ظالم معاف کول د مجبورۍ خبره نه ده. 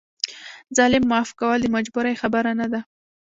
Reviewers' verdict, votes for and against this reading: rejected, 0, 2